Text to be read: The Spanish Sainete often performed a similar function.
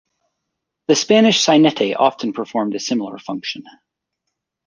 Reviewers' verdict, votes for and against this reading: accepted, 2, 0